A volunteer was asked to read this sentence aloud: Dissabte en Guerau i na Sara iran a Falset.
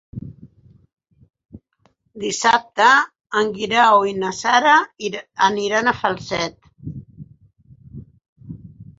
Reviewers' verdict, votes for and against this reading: rejected, 2, 4